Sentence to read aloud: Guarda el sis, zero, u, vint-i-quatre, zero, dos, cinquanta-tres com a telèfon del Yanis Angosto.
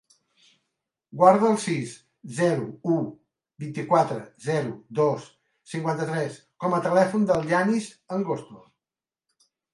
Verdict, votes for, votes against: accepted, 2, 1